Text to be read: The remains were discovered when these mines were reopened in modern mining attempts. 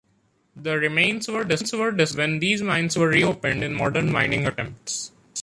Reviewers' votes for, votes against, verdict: 0, 2, rejected